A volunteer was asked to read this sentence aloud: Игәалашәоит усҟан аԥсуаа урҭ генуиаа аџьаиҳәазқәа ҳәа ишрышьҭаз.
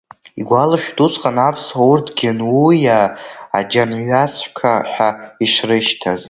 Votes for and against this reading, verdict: 0, 2, rejected